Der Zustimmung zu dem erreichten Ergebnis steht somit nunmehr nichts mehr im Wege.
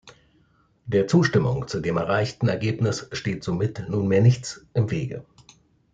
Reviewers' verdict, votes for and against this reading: rejected, 1, 2